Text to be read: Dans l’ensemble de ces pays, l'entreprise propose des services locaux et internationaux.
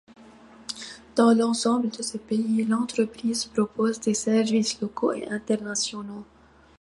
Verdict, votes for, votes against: accepted, 2, 1